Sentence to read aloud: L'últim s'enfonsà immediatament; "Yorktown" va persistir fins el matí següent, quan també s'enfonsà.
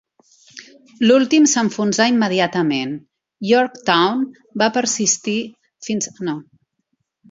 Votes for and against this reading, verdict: 1, 2, rejected